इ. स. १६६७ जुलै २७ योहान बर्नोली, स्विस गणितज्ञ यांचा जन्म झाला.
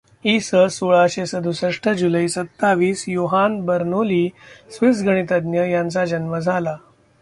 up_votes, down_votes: 0, 2